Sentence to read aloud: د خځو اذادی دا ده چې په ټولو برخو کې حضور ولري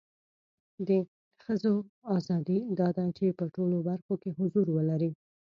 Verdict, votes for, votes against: rejected, 0, 2